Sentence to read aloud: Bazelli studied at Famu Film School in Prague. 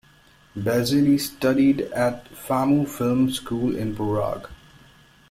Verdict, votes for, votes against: accepted, 2, 0